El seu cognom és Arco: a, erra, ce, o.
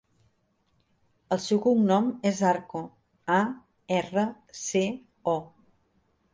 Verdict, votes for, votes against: accepted, 2, 0